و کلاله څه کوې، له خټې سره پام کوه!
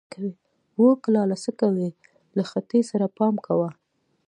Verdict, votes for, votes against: accepted, 2, 0